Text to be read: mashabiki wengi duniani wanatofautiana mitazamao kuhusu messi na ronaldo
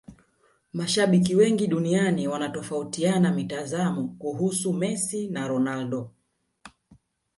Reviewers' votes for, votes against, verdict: 1, 2, rejected